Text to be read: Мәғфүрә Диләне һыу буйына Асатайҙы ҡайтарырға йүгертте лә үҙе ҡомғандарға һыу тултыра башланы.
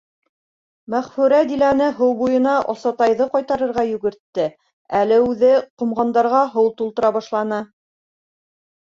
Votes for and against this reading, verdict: 1, 2, rejected